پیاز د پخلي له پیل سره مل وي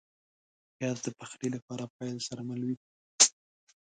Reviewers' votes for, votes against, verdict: 2, 0, accepted